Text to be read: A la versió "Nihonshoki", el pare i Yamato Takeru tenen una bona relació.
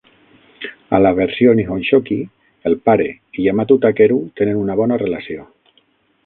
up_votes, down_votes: 3, 6